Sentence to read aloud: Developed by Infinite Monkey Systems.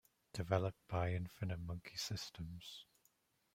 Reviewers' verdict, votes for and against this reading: accepted, 2, 0